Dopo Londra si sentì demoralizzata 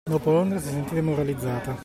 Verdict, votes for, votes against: accepted, 2, 1